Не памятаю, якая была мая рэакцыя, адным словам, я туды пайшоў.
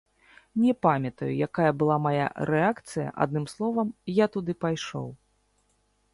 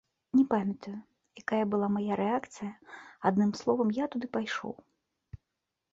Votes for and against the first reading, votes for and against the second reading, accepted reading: 0, 2, 2, 0, second